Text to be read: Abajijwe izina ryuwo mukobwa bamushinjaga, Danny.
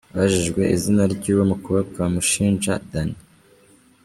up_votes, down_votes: 0, 2